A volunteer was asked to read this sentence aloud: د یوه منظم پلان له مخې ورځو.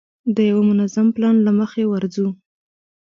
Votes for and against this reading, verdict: 2, 0, accepted